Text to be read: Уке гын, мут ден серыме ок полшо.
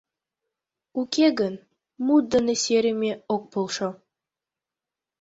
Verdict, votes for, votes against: rejected, 0, 2